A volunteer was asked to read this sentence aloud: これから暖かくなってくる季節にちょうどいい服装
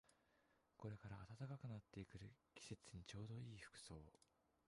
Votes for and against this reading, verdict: 1, 5, rejected